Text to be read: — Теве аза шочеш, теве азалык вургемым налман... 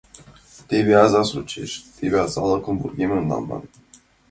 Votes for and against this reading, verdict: 1, 2, rejected